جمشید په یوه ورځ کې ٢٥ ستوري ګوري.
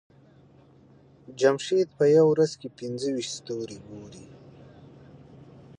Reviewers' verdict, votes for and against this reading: rejected, 0, 2